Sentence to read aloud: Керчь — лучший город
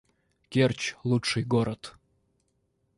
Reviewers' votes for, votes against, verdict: 1, 2, rejected